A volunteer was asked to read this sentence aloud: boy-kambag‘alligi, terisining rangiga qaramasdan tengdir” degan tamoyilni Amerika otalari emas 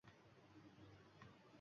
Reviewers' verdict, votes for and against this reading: rejected, 1, 2